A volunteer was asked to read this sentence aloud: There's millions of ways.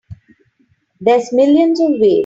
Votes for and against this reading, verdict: 2, 3, rejected